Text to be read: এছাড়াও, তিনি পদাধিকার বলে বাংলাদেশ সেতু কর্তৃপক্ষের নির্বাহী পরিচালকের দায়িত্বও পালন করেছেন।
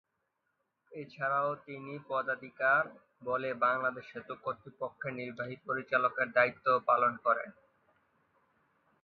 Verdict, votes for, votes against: rejected, 0, 2